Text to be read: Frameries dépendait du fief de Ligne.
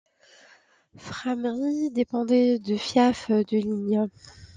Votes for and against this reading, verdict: 0, 2, rejected